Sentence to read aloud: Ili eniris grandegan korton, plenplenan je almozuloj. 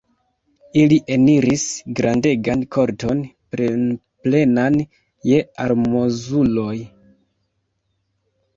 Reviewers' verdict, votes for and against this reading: accepted, 2, 0